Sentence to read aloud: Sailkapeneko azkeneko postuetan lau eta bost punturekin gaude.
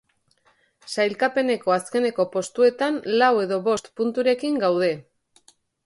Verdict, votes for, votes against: accepted, 6, 1